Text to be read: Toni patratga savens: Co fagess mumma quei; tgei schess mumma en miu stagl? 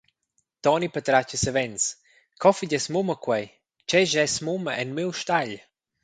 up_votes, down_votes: 2, 0